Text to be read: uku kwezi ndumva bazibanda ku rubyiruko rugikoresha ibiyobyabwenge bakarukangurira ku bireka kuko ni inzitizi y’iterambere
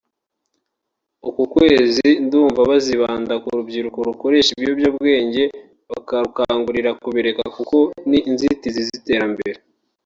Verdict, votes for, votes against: rejected, 1, 3